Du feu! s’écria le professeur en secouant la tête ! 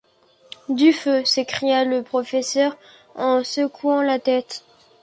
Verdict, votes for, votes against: accepted, 2, 0